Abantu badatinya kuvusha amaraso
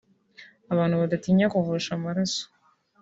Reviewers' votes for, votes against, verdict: 2, 1, accepted